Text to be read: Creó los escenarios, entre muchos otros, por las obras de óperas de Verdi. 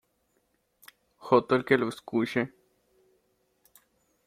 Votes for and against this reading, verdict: 0, 2, rejected